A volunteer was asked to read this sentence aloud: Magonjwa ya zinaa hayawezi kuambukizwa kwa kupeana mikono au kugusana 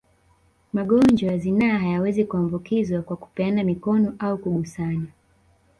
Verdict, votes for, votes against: accepted, 2, 0